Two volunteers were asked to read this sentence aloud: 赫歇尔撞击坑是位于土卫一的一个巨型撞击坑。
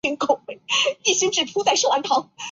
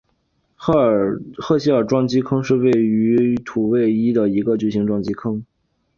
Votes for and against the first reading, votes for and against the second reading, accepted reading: 1, 4, 3, 2, second